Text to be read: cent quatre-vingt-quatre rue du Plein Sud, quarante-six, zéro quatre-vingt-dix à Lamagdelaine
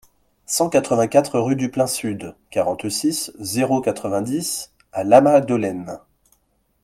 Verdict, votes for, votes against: accepted, 2, 0